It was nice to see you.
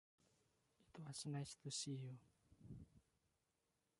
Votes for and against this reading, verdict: 0, 2, rejected